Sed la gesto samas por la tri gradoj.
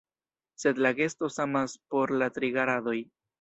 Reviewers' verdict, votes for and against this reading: rejected, 0, 2